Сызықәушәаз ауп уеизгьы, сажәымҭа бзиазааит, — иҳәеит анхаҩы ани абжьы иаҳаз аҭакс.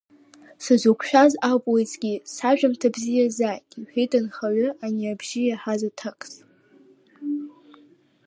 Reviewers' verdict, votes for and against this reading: rejected, 0, 2